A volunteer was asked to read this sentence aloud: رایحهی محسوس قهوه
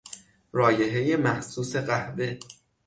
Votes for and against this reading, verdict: 6, 0, accepted